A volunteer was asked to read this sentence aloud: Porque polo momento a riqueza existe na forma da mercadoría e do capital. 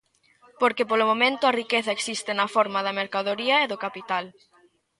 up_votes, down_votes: 0, 2